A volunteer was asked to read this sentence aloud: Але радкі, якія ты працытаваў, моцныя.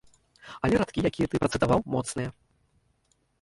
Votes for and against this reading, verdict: 0, 2, rejected